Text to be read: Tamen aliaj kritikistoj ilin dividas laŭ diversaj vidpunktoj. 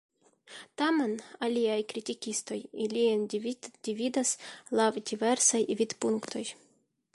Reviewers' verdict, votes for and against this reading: accepted, 2, 0